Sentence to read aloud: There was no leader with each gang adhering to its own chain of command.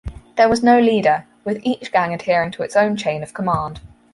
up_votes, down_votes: 4, 0